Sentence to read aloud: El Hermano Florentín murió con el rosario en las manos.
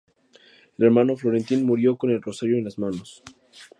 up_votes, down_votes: 2, 0